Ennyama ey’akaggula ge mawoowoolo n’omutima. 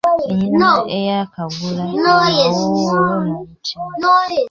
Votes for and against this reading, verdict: 1, 2, rejected